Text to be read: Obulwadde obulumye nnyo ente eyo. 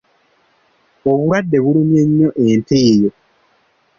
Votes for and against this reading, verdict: 2, 1, accepted